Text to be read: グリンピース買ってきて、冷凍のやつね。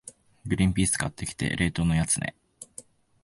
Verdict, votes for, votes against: accepted, 2, 0